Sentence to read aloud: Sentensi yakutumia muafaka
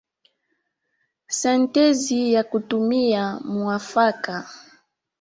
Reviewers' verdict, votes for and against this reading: rejected, 0, 2